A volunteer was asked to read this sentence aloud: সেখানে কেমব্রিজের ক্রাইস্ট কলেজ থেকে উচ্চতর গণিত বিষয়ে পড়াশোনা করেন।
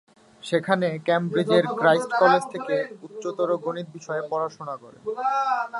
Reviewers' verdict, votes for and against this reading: rejected, 0, 2